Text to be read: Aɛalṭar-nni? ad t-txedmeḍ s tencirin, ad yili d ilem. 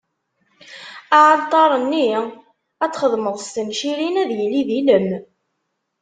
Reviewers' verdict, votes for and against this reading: accepted, 2, 0